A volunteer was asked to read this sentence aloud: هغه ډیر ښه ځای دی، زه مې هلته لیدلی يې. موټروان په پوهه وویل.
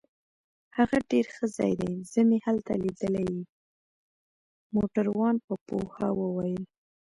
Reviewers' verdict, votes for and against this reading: rejected, 1, 2